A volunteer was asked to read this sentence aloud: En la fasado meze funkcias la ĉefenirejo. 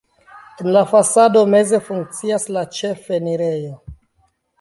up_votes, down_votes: 1, 2